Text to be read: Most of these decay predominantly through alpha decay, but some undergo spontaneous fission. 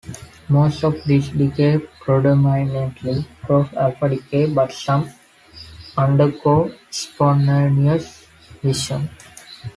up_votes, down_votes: 1, 2